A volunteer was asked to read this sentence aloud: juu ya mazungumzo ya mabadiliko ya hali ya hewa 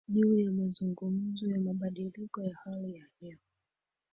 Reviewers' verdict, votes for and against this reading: accepted, 3, 2